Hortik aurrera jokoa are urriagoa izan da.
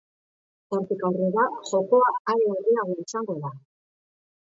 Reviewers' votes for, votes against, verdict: 1, 2, rejected